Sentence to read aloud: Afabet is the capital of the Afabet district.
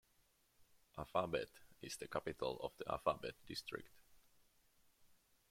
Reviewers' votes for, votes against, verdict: 2, 1, accepted